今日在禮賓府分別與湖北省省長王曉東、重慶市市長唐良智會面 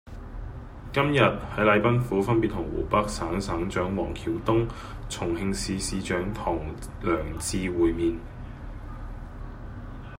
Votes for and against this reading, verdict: 0, 2, rejected